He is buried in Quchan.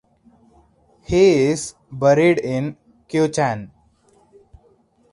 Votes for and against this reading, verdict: 2, 2, rejected